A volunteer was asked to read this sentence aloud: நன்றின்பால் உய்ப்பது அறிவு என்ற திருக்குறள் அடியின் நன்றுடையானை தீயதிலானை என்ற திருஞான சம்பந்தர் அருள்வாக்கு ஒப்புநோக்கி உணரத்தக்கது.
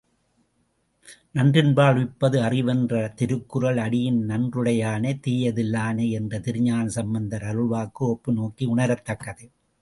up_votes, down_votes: 2, 0